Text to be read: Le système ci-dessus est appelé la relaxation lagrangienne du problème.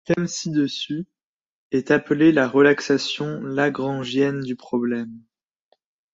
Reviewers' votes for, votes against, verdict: 1, 2, rejected